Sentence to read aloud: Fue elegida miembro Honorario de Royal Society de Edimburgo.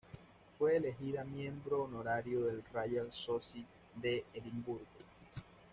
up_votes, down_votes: 1, 2